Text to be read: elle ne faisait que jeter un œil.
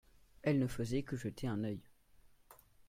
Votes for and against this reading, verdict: 2, 0, accepted